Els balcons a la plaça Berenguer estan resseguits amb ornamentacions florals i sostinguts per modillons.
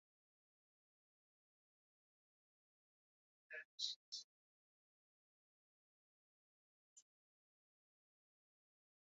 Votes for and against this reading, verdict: 1, 2, rejected